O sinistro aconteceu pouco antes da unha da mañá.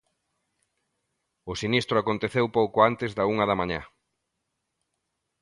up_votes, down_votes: 2, 0